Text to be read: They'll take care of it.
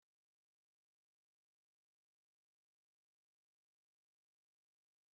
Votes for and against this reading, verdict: 0, 2, rejected